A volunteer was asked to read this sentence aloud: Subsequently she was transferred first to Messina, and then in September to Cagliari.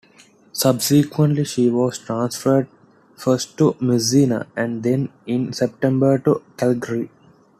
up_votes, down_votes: 0, 2